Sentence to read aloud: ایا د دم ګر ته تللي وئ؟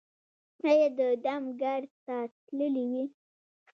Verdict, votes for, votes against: rejected, 0, 2